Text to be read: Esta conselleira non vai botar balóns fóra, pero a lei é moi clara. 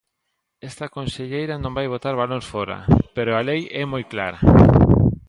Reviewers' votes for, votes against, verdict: 2, 0, accepted